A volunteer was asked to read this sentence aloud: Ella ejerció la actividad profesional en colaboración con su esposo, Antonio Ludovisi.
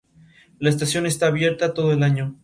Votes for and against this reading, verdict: 0, 2, rejected